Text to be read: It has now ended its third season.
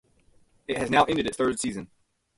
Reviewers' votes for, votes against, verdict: 4, 0, accepted